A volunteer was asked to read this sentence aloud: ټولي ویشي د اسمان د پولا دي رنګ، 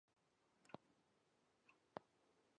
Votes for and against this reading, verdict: 1, 2, rejected